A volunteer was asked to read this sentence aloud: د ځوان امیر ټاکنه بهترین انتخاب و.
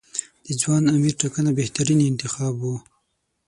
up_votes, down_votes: 6, 0